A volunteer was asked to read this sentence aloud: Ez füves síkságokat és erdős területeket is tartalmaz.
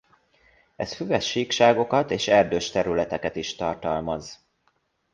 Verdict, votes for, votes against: accepted, 2, 0